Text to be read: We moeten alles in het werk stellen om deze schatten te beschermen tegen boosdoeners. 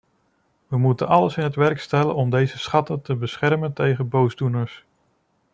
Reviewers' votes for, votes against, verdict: 2, 0, accepted